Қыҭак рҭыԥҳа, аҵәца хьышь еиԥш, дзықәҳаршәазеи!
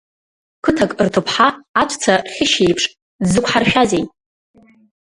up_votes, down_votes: 2, 0